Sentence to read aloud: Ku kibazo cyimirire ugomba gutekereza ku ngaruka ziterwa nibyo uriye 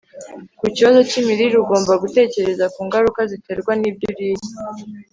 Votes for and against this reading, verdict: 3, 0, accepted